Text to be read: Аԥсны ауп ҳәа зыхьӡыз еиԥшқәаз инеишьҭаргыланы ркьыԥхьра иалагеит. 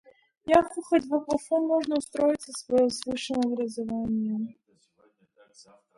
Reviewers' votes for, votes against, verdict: 1, 2, rejected